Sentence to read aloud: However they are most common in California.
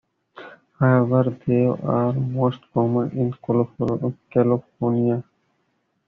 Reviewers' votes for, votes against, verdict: 0, 2, rejected